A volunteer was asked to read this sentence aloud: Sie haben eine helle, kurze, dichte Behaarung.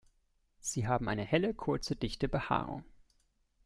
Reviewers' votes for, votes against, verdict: 2, 0, accepted